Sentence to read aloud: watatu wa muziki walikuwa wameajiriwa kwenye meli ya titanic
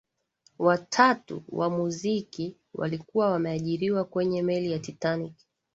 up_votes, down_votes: 15, 2